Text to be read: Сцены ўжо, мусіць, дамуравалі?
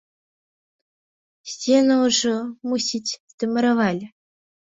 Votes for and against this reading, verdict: 2, 0, accepted